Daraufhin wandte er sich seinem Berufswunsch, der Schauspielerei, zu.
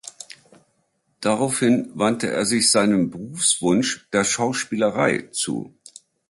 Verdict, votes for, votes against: accepted, 2, 0